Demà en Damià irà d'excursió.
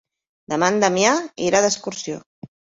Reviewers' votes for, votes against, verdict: 3, 0, accepted